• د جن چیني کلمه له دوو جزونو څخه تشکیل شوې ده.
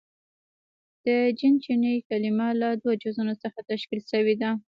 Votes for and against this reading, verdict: 2, 0, accepted